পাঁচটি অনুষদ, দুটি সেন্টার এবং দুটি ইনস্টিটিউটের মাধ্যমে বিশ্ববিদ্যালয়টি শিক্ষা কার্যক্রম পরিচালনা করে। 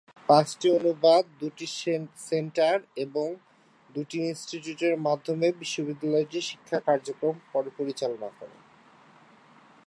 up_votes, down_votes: 0, 3